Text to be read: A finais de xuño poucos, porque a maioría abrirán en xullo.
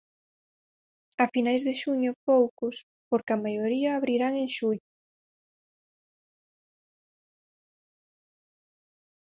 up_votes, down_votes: 0, 4